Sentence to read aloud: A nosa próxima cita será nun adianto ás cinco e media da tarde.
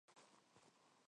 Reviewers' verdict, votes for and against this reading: rejected, 0, 4